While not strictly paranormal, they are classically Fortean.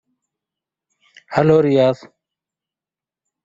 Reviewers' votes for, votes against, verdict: 0, 2, rejected